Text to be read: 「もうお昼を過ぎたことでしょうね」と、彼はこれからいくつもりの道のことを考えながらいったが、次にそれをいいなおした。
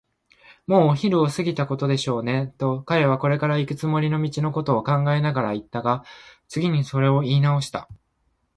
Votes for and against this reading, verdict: 3, 0, accepted